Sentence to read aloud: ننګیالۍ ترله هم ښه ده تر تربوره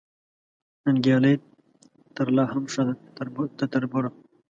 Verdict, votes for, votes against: rejected, 1, 2